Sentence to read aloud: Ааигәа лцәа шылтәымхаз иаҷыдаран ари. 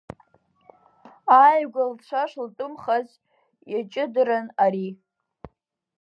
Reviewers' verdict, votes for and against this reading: rejected, 0, 2